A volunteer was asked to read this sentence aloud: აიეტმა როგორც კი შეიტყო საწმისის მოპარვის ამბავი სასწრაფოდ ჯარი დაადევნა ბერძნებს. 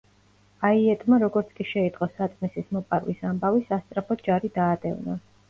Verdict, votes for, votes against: rejected, 0, 2